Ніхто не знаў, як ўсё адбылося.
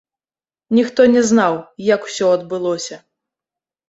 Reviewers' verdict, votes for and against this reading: rejected, 1, 2